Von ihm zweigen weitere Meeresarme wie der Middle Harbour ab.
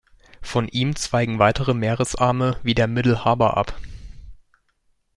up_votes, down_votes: 2, 0